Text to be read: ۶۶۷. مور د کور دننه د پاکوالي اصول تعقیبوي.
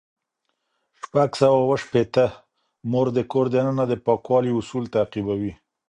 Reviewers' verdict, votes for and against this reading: rejected, 0, 2